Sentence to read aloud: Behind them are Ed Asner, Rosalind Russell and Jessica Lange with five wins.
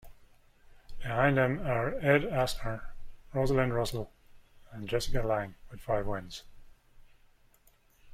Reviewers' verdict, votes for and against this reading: accepted, 2, 0